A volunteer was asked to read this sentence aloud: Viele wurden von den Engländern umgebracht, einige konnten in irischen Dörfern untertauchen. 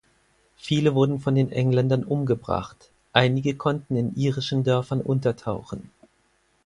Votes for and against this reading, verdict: 4, 0, accepted